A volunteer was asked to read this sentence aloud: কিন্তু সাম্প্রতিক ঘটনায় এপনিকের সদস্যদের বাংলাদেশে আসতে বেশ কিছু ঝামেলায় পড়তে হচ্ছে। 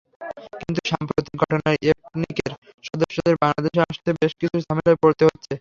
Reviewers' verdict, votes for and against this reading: rejected, 0, 3